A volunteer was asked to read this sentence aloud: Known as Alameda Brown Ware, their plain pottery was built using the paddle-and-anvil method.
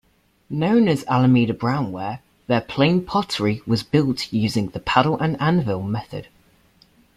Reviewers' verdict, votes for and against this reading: accepted, 2, 0